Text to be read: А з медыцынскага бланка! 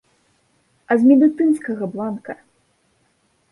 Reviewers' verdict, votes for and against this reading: accepted, 2, 0